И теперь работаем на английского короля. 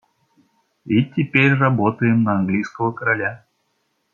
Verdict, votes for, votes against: accepted, 2, 0